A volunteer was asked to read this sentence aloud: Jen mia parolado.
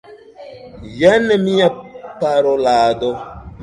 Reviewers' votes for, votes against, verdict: 1, 2, rejected